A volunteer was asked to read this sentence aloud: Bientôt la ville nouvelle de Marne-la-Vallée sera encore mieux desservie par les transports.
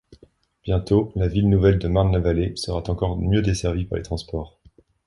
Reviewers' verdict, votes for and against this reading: rejected, 1, 2